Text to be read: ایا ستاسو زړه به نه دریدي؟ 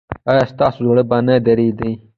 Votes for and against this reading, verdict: 2, 0, accepted